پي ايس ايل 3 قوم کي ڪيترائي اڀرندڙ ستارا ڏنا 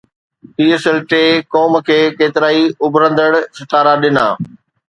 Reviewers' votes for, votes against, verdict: 0, 2, rejected